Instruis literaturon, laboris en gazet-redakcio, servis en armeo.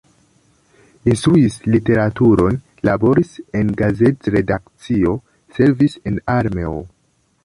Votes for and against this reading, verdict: 1, 2, rejected